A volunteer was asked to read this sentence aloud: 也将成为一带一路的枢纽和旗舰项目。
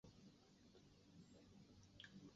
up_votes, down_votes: 1, 2